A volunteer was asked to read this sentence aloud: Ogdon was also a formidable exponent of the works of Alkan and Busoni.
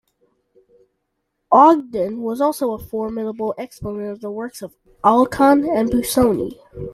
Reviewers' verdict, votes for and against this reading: accepted, 2, 0